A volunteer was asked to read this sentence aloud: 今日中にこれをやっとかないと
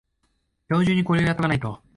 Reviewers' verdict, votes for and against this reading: accepted, 2, 0